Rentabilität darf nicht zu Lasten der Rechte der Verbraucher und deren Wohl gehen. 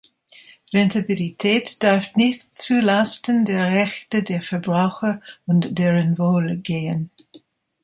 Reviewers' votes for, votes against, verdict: 2, 0, accepted